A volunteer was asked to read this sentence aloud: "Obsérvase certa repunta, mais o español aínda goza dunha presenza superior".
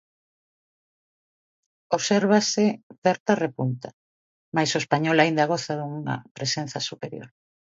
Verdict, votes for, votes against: accepted, 2, 0